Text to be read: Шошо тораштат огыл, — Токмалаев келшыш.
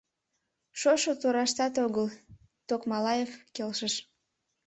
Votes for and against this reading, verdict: 2, 0, accepted